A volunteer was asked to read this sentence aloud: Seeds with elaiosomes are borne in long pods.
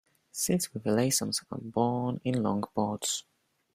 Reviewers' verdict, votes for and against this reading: rejected, 1, 2